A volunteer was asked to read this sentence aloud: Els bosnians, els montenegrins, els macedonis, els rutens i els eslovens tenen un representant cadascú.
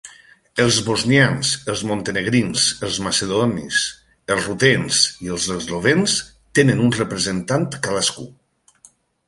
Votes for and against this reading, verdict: 2, 0, accepted